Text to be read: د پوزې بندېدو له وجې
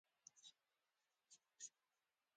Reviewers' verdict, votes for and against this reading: accepted, 2, 1